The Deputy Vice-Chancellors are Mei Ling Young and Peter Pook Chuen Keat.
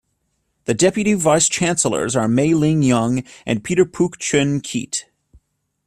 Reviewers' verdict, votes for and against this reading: accepted, 2, 0